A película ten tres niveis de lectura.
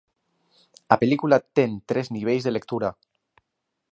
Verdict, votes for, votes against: accepted, 2, 0